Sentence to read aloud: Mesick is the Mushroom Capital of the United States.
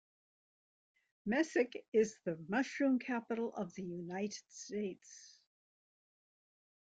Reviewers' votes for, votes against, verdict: 2, 0, accepted